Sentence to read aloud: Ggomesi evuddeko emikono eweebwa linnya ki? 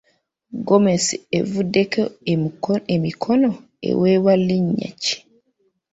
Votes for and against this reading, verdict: 2, 3, rejected